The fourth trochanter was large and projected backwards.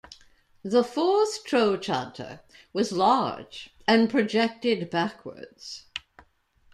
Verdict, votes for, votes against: accepted, 2, 0